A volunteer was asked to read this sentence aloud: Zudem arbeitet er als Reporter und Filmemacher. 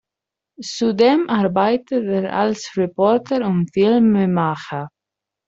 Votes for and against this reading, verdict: 0, 2, rejected